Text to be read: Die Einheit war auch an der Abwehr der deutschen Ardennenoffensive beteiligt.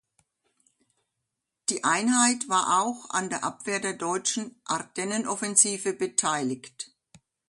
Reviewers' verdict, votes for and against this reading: accepted, 2, 0